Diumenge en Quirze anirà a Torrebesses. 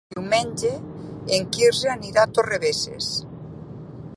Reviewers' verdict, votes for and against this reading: accepted, 3, 0